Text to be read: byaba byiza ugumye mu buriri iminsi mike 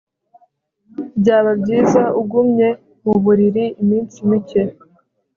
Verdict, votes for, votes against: accepted, 2, 0